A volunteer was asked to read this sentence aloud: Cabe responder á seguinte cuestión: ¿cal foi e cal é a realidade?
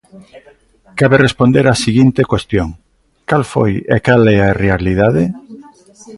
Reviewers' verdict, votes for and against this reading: rejected, 0, 2